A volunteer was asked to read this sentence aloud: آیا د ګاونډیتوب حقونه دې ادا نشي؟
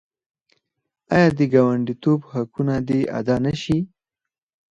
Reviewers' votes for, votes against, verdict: 4, 2, accepted